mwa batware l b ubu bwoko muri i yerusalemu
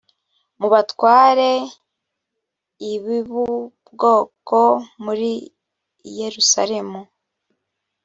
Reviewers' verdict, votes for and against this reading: rejected, 1, 2